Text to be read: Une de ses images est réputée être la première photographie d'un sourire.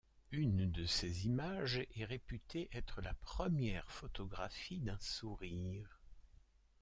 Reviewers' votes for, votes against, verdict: 1, 2, rejected